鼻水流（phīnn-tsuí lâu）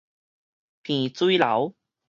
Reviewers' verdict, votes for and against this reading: rejected, 2, 2